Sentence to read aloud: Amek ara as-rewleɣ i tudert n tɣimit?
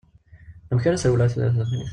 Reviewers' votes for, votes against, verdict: 0, 2, rejected